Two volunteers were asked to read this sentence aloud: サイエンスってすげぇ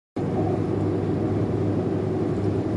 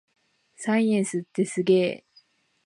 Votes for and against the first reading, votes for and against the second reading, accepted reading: 1, 2, 2, 0, second